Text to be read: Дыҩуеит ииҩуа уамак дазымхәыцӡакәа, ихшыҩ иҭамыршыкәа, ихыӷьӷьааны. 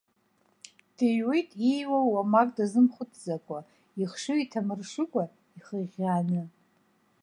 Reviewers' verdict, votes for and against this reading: accepted, 2, 0